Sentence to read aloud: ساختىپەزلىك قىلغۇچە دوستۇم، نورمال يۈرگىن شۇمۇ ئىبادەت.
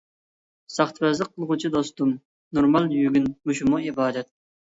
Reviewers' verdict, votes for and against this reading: rejected, 1, 2